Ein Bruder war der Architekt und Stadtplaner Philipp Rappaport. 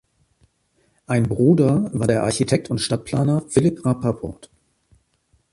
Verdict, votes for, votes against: accepted, 2, 1